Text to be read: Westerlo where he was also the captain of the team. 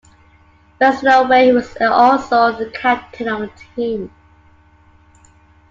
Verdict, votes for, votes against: accepted, 2, 0